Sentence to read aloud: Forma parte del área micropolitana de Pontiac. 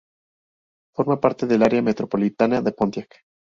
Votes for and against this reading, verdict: 0, 4, rejected